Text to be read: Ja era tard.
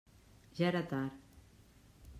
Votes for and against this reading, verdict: 3, 0, accepted